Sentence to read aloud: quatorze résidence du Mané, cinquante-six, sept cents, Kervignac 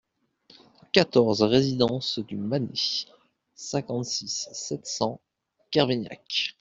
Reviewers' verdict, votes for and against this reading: accepted, 2, 0